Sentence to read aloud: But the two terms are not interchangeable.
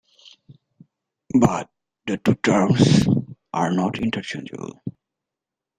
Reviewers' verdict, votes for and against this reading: accepted, 2, 0